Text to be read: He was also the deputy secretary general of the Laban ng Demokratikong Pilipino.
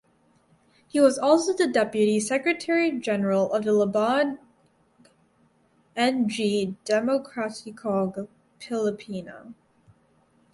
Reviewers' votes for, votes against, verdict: 0, 2, rejected